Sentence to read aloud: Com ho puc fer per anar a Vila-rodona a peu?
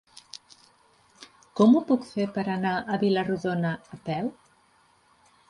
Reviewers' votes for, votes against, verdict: 3, 0, accepted